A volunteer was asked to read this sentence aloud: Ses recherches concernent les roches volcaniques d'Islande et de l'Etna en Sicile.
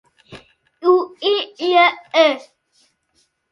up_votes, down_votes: 0, 2